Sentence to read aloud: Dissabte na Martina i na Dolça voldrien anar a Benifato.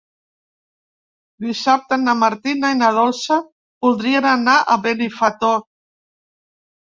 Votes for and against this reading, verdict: 1, 2, rejected